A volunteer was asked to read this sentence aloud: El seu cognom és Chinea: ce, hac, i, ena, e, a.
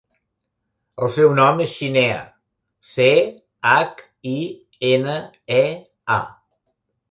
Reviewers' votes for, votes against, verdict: 0, 2, rejected